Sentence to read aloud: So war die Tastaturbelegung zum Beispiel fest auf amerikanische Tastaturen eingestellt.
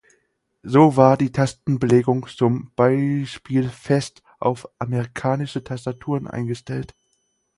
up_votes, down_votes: 4, 0